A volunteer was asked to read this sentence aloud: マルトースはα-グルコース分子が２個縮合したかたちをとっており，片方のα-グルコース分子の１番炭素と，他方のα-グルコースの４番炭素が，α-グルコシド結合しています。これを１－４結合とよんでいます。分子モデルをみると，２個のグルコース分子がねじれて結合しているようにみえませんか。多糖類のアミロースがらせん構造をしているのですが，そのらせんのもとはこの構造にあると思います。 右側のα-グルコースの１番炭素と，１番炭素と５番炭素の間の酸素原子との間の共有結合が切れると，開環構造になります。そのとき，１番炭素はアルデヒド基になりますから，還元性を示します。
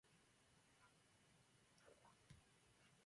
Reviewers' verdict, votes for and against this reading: rejected, 0, 2